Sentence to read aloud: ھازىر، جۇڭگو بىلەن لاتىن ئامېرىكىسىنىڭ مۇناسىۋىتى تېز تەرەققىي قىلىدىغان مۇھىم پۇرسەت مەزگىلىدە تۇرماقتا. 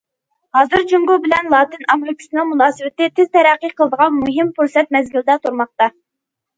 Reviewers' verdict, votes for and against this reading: accepted, 2, 0